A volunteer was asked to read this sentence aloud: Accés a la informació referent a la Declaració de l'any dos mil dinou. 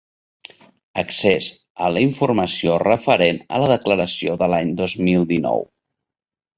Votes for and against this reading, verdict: 2, 0, accepted